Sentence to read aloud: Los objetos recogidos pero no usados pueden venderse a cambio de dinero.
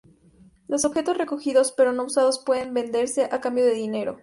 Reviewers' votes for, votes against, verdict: 2, 0, accepted